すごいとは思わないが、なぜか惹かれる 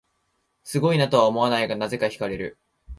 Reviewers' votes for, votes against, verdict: 1, 2, rejected